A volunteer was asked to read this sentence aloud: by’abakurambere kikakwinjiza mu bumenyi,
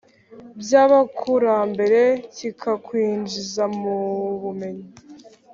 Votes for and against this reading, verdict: 3, 0, accepted